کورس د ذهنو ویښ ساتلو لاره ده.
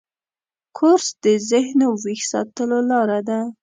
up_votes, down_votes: 2, 0